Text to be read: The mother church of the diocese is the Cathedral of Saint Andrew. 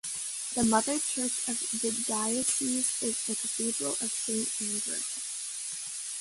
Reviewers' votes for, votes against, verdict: 2, 1, accepted